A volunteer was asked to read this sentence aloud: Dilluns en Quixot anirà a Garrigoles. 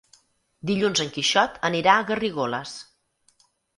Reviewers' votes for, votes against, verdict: 8, 0, accepted